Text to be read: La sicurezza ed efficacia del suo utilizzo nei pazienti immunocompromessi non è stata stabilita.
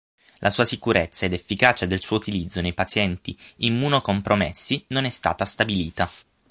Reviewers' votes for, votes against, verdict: 3, 9, rejected